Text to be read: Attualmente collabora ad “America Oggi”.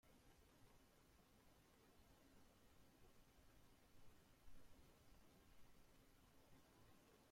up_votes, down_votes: 0, 2